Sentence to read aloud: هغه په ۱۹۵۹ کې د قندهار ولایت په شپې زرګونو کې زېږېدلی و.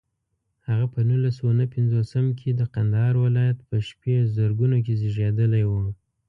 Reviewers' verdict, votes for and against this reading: rejected, 0, 2